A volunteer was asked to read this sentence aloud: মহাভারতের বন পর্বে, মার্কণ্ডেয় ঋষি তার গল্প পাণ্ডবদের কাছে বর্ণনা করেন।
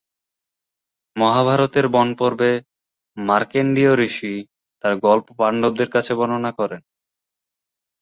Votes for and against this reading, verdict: 0, 2, rejected